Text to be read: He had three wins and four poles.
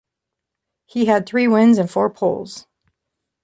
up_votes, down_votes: 3, 0